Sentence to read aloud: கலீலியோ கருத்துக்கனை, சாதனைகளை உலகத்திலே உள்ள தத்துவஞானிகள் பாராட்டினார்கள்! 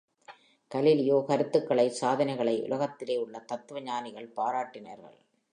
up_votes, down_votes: 3, 0